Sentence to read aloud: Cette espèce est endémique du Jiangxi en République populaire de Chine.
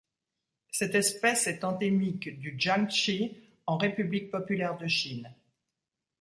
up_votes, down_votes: 2, 0